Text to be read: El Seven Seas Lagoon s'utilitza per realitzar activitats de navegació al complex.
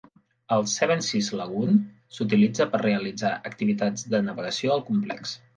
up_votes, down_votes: 2, 0